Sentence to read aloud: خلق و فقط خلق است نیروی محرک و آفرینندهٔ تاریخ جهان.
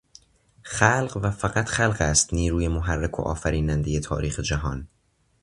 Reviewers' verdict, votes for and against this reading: accepted, 2, 0